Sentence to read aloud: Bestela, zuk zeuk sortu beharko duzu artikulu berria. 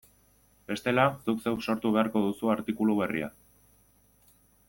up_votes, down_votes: 2, 0